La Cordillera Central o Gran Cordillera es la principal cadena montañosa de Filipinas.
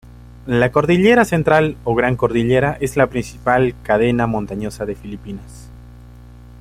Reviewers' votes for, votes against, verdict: 2, 0, accepted